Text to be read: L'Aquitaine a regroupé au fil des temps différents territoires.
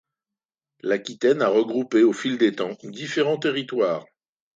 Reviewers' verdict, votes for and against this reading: accepted, 2, 0